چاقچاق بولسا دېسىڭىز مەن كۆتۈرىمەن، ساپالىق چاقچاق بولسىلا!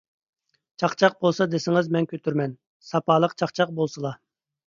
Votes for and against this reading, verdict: 2, 0, accepted